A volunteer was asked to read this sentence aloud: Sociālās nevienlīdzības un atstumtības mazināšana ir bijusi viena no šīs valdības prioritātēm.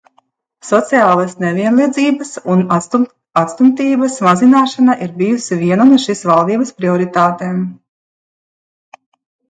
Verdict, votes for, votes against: rejected, 1, 2